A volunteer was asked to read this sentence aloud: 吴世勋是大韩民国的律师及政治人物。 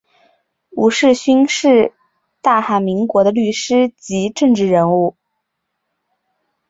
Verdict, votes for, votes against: accepted, 3, 0